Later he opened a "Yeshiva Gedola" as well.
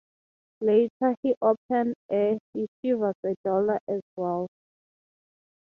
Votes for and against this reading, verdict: 6, 0, accepted